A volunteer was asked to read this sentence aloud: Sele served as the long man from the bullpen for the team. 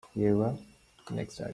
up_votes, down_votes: 0, 2